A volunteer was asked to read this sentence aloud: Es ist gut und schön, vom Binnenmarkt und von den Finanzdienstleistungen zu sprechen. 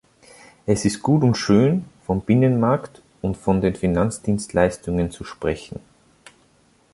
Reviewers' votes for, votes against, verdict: 2, 0, accepted